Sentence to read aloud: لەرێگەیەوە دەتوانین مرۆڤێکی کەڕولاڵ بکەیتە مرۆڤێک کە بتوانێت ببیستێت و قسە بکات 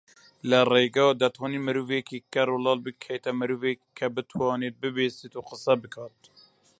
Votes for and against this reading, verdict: 0, 2, rejected